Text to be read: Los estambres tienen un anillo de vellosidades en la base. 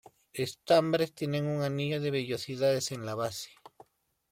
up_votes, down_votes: 1, 2